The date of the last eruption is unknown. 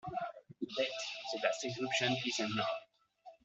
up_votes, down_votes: 1, 2